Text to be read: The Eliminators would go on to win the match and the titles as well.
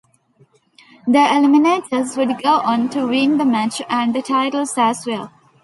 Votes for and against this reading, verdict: 2, 1, accepted